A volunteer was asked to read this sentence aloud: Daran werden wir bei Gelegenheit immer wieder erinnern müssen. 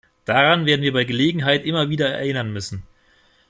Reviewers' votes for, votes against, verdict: 2, 0, accepted